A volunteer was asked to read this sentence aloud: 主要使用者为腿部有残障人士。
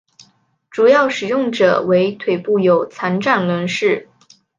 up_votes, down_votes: 5, 2